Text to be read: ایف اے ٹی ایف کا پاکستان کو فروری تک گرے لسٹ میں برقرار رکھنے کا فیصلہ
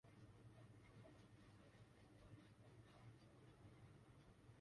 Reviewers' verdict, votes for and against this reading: rejected, 0, 3